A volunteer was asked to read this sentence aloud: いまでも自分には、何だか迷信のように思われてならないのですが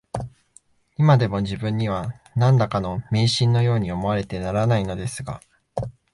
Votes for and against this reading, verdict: 0, 2, rejected